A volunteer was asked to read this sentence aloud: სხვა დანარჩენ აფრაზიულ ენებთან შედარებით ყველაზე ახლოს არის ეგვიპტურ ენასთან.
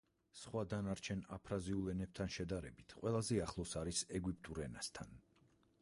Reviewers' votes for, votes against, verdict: 2, 4, rejected